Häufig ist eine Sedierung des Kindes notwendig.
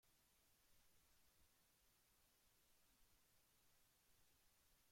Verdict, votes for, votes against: rejected, 0, 2